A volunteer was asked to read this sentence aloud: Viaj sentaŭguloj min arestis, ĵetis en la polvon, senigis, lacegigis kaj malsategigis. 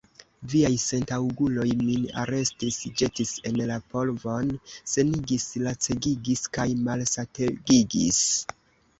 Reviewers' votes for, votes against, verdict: 2, 0, accepted